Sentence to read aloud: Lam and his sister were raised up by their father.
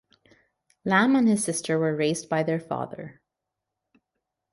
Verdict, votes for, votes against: accepted, 2, 1